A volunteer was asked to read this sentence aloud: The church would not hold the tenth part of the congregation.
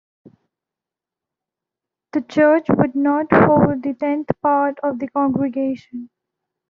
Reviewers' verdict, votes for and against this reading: accepted, 2, 0